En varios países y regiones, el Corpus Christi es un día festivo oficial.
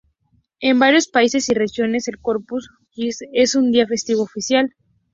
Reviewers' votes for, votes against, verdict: 2, 0, accepted